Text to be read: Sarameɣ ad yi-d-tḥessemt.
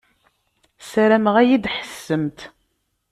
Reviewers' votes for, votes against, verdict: 2, 0, accepted